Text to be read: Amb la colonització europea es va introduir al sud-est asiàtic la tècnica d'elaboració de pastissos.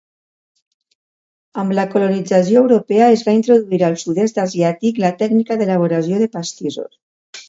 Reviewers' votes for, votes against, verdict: 2, 0, accepted